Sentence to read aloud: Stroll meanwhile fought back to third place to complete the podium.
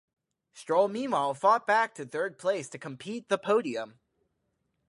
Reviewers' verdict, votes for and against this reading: rejected, 0, 4